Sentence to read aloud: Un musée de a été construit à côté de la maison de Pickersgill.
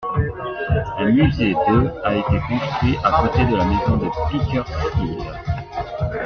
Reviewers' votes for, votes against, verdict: 0, 2, rejected